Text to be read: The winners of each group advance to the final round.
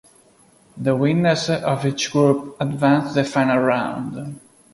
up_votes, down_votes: 0, 2